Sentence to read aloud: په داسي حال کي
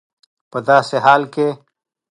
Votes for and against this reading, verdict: 2, 0, accepted